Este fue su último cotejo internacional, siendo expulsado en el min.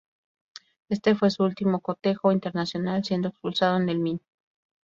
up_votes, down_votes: 2, 0